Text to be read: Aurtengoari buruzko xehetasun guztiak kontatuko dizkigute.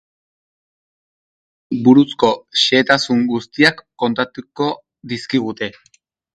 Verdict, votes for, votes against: rejected, 0, 2